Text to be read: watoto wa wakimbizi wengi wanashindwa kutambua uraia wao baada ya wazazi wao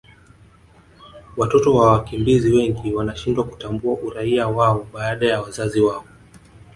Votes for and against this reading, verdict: 1, 2, rejected